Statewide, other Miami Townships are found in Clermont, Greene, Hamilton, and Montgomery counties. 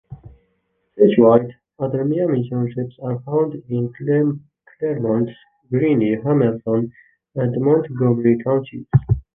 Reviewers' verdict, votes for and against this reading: rejected, 0, 2